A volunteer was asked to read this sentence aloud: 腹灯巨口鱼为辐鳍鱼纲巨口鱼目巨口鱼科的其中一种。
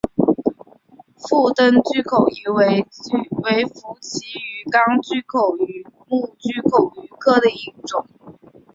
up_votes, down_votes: 2, 0